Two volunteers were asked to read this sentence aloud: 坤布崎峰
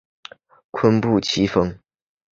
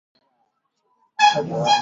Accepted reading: first